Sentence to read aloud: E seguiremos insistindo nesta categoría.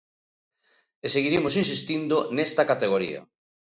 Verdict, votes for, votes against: accepted, 2, 0